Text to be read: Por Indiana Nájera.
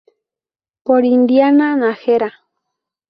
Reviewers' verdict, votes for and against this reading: rejected, 0, 2